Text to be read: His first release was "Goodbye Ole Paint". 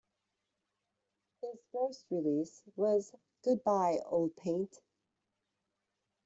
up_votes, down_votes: 1, 2